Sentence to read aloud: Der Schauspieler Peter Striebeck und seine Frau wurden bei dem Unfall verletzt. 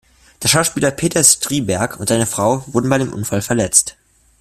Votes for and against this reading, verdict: 0, 2, rejected